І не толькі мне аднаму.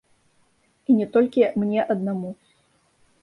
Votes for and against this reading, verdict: 1, 2, rejected